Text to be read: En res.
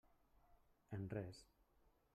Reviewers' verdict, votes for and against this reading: rejected, 0, 2